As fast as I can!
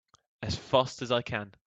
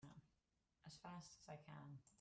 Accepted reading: first